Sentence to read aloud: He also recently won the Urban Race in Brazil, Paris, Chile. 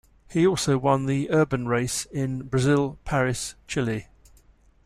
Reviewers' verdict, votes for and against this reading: rejected, 1, 2